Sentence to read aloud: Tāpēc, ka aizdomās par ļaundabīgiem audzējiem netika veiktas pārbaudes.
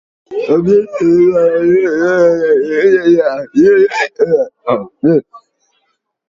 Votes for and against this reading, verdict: 0, 2, rejected